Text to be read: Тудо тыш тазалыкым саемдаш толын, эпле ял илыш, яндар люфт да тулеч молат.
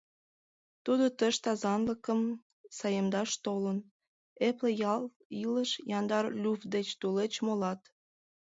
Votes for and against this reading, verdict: 0, 2, rejected